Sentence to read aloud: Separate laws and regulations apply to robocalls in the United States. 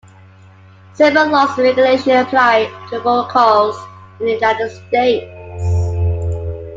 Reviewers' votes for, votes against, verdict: 0, 2, rejected